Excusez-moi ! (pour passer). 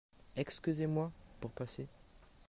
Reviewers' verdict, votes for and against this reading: accepted, 2, 1